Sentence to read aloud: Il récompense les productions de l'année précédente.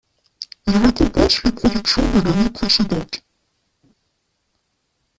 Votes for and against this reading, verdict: 1, 2, rejected